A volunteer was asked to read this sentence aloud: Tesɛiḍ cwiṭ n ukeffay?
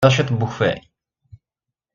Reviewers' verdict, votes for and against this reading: rejected, 1, 2